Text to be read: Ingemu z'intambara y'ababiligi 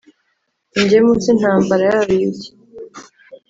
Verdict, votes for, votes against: accepted, 3, 0